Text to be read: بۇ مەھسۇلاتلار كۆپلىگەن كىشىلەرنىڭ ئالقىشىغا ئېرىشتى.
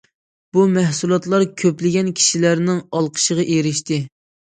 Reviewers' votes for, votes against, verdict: 2, 0, accepted